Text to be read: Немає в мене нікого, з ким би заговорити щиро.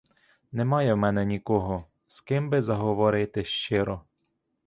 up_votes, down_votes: 2, 0